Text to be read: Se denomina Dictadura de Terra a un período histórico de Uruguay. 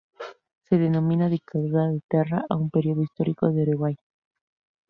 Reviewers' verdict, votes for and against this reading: accepted, 2, 0